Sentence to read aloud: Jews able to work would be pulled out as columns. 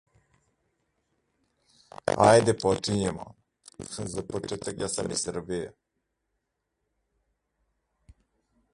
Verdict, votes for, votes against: rejected, 0, 2